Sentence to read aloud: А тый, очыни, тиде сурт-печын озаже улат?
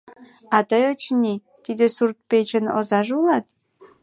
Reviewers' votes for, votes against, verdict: 2, 0, accepted